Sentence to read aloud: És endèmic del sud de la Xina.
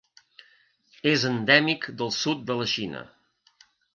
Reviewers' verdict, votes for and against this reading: accepted, 2, 0